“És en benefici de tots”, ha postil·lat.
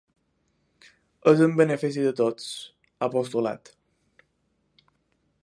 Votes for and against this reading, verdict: 1, 2, rejected